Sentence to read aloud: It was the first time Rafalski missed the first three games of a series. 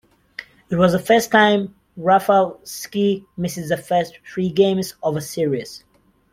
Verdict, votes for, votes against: rejected, 1, 2